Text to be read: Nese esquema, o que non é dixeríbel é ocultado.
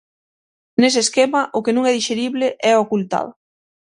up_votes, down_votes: 0, 6